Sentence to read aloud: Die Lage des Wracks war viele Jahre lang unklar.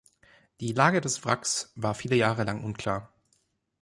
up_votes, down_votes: 2, 0